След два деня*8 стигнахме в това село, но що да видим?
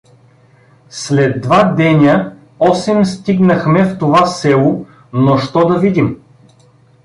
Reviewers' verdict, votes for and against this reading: rejected, 0, 2